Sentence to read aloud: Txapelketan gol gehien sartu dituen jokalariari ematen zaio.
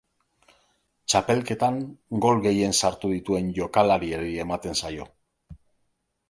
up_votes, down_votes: 2, 0